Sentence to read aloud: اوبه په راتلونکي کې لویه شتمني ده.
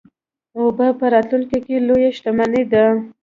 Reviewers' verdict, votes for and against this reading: accepted, 2, 1